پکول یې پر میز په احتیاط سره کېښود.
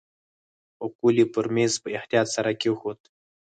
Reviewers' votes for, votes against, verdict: 2, 4, rejected